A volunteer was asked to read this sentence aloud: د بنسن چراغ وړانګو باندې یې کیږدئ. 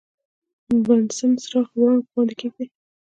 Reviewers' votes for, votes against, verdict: 2, 0, accepted